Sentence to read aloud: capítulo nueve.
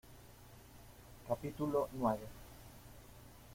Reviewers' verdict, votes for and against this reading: accepted, 2, 0